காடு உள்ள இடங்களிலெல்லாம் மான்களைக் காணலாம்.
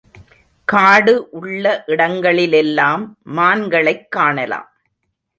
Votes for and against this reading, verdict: 3, 0, accepted